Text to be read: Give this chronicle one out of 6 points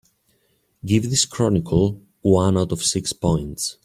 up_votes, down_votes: 0, 2